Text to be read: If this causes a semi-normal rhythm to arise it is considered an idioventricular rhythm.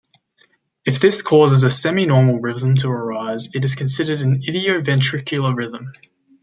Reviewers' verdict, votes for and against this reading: accepted, 2, 0